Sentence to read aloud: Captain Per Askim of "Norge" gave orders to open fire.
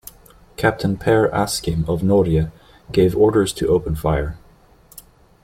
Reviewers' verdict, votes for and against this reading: accepted, 2, 0